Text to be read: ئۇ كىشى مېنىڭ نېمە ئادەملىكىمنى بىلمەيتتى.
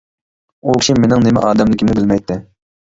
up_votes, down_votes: 0, 2